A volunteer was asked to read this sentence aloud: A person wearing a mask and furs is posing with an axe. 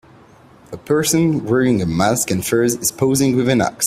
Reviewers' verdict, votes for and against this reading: accepted, 2, 0